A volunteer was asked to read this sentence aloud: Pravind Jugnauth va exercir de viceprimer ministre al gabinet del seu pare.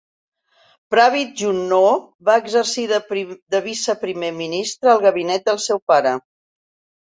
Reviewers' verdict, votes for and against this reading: rejected, 1, 2